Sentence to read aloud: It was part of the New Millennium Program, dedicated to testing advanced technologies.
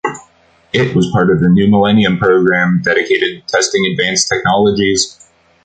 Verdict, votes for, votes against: accepted, 2, 0